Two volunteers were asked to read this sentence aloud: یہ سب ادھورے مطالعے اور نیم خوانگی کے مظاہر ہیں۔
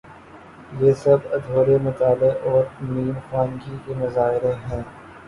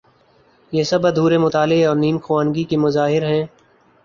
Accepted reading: second